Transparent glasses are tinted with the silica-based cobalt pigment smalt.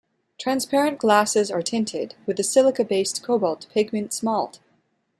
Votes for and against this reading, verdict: 2, 0, accepted